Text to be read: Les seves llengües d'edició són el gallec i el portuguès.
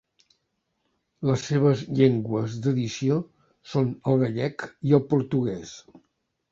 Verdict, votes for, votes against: accepted, 5, 0